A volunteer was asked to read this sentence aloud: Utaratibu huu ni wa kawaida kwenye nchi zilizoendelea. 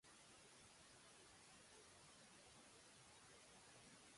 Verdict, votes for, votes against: rejected, 0, 2